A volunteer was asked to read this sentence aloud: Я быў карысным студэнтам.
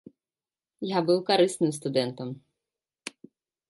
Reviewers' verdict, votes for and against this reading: accepted, 2, 0